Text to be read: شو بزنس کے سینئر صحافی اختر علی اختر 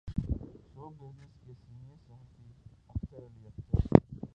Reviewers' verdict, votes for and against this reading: rejected, 2, 4